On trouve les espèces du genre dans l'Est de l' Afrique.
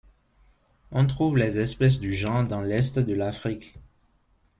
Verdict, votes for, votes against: rejected, 0, 2